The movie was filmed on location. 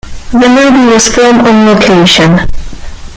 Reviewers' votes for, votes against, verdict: 2, 1, accepted